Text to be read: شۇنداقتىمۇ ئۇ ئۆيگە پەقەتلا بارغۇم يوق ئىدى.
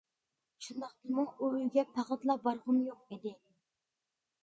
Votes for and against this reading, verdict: 2, 0, accepted